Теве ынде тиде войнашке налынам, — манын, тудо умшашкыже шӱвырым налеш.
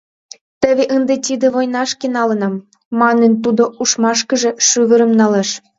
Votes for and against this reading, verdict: 2, 1, accepted